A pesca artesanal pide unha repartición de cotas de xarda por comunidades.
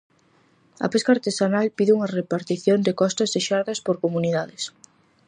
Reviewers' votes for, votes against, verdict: 0, 4, rejected